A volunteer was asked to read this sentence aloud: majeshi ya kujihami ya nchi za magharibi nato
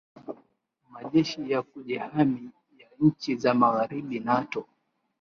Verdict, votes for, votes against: accepted, 3, 1